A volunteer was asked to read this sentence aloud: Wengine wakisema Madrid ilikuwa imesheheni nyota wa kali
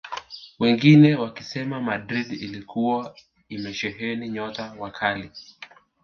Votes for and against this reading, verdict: 2, 0, accepted